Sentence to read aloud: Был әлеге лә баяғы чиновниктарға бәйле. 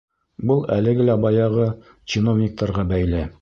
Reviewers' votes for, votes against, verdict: 2, 0, accepted